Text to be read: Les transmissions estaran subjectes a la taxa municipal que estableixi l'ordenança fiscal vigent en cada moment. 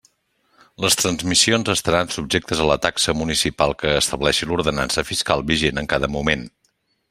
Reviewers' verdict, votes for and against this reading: accepted, 3, 0